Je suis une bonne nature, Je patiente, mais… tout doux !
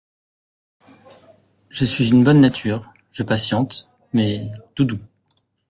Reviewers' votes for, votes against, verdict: 2, 0, accepted